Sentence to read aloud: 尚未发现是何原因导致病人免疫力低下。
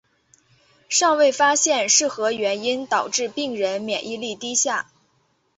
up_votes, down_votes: 4, 1